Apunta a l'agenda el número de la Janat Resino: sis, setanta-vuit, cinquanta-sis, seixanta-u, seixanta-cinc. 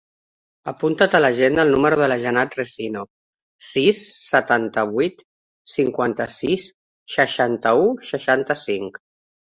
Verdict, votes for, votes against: rejected, 0, 2